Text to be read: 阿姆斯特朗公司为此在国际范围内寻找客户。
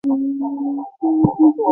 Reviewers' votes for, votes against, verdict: 0, 3, rejected